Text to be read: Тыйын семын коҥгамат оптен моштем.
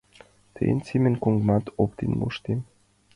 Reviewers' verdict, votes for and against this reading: accepted, 2, 1